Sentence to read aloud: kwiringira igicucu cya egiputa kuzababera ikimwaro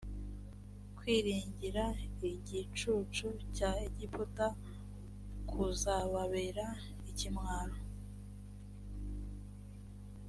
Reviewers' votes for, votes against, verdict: 2, 0, accepted